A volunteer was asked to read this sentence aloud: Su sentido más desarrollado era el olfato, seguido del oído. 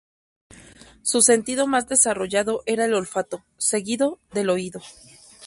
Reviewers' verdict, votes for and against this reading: accepted, 2, 0